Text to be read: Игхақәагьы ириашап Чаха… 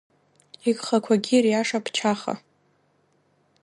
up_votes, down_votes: 2, 1